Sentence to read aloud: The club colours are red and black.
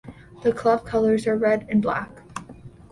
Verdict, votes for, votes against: accepted, 2, 0